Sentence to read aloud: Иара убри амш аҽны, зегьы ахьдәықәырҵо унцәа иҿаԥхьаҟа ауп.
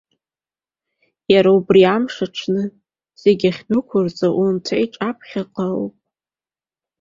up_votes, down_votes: 0, 2